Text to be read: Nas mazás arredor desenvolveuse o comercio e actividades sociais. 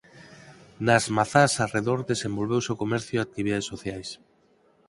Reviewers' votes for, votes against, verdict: 4, 0, accepted